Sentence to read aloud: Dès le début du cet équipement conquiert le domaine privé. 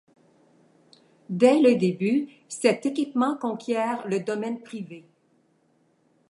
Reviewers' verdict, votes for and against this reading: rejected, 1, 2